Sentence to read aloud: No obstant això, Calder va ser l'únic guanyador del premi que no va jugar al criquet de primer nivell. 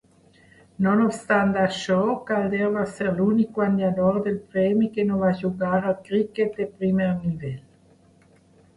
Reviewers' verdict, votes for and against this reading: rejected, 2, 3